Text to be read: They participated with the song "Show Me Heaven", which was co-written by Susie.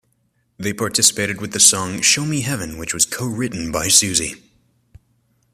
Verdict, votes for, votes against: accepted, 2, 0